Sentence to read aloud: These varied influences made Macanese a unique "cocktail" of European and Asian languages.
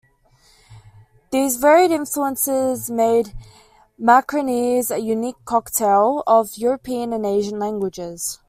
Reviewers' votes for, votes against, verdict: 0, 2, rejected